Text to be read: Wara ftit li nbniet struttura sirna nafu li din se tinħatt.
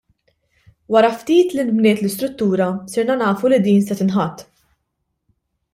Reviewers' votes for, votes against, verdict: 0, 2, rejected